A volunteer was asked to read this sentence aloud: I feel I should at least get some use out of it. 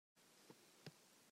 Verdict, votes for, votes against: rejected, 0, 2